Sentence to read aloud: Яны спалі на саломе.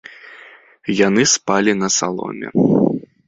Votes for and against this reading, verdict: 2, 0, accepted